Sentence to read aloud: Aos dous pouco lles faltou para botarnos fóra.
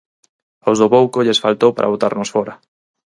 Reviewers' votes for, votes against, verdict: 0, 4, rejected